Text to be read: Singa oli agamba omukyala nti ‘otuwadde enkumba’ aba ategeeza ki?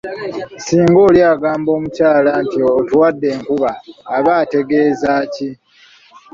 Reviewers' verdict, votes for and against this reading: accepted, 2, 1